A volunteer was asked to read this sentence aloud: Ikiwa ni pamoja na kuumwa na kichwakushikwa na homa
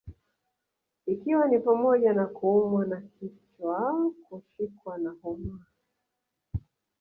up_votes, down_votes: 0, 2